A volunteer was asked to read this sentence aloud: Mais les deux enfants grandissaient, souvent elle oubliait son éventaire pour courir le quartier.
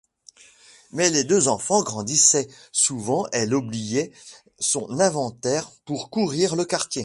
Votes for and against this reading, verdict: 1, 2, rejected